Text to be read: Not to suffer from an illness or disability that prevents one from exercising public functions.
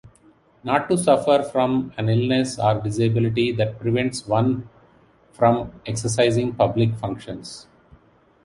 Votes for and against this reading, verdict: 2, 0, accepted